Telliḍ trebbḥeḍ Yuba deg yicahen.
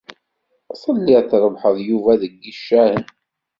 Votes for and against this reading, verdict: 1, 2, rejected